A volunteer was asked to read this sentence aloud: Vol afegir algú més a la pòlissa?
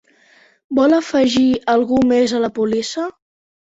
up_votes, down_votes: 0, 3